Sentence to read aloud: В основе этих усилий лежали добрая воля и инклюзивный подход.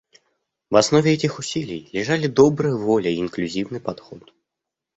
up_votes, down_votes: 2, 0